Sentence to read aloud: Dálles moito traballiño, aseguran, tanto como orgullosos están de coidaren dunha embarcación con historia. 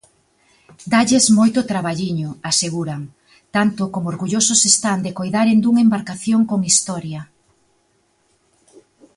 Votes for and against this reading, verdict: 2, 0, accepted